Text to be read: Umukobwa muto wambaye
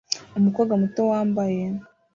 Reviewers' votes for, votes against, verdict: 2, 0, accepted